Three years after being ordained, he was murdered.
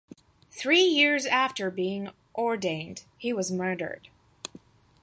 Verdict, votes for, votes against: accepted, 2, 0